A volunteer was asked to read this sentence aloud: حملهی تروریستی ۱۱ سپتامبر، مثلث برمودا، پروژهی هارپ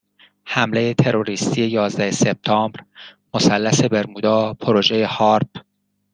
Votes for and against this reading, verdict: 0, 2, rejected